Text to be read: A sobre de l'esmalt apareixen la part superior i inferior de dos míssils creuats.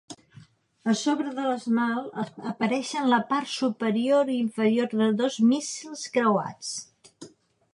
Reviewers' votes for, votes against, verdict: 1, 2, rejected